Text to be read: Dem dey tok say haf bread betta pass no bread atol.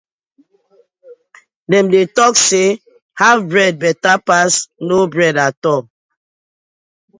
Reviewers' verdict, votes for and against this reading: accepted, 2, 0